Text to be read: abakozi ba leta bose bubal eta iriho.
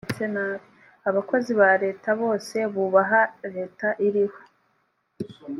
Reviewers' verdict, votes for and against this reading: rejected, 1, 2